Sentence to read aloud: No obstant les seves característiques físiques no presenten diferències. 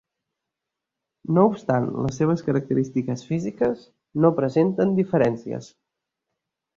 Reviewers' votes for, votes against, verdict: 2, 0, accepted